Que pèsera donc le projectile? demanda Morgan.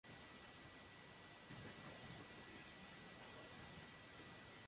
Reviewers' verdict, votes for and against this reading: rejected, 0, 2